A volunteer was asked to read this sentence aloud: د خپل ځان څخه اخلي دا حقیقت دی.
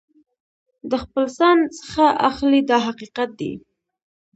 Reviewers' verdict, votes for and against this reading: accepted, 2, 0